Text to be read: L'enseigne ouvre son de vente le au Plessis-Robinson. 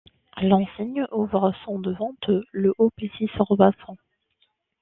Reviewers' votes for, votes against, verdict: 2, 1, accepted